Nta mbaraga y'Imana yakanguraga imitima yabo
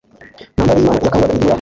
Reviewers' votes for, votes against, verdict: 0, 2, rejected